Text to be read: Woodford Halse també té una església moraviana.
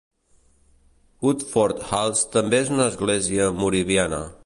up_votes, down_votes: 0, 2